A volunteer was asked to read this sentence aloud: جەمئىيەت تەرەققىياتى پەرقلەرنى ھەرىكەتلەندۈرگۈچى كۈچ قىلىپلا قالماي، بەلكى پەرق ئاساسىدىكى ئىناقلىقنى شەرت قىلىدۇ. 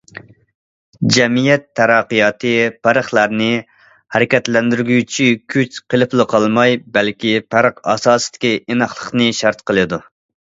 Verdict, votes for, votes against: accepted, 2, 0